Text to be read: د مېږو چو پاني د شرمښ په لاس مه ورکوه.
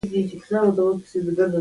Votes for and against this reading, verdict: 0, 2, rejected